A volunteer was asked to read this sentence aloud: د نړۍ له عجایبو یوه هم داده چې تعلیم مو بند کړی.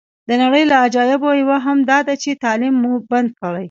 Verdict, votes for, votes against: rejected, 0, 2